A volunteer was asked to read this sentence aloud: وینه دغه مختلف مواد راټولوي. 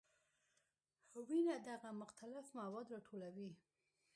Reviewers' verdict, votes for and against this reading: accepted, 2, 0